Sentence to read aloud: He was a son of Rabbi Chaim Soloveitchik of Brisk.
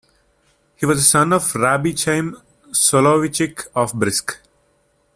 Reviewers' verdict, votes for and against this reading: rejected, 1, 2